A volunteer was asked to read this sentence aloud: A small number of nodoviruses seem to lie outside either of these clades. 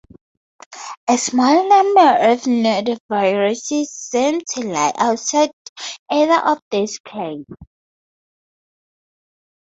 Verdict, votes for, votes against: accepted, 2, 0